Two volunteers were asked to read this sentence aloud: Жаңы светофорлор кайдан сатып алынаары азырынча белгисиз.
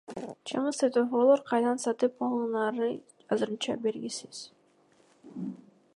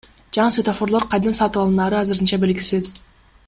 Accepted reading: second